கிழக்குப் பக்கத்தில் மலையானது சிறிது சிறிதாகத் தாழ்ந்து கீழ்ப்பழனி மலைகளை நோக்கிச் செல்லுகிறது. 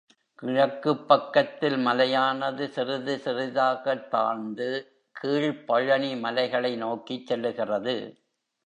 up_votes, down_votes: 1, 2